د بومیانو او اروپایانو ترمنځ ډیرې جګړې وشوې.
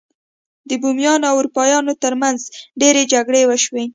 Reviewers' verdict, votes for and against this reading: accepted, 2, 0